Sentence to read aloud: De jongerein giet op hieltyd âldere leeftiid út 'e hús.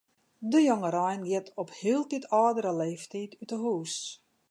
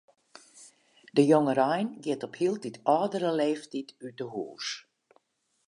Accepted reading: second